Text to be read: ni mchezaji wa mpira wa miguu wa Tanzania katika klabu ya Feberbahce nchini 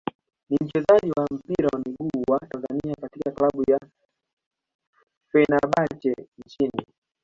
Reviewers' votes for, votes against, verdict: 2, 1, accepted